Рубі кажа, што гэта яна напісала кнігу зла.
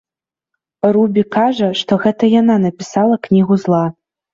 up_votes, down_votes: 3, 0